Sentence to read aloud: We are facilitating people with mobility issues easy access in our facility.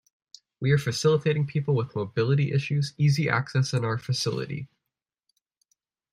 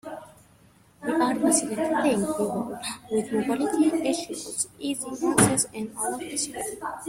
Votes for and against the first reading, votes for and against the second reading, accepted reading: 2, 0, 1, 2, first